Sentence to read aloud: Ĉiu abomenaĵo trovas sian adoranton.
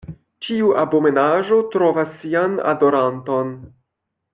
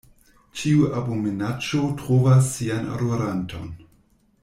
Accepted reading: first